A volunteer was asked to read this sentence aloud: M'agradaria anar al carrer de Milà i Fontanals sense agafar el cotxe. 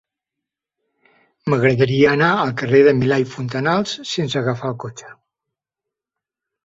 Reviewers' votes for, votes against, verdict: 3, 0, accepted